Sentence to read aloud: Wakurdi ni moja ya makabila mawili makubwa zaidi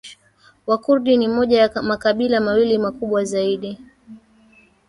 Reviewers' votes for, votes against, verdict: 1, 2, rejected